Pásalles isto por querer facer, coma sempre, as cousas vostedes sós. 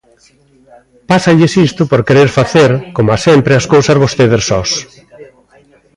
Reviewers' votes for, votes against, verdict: 2, 0, accepted